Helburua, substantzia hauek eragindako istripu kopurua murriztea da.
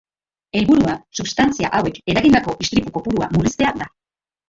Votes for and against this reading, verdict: 0, 3, rejected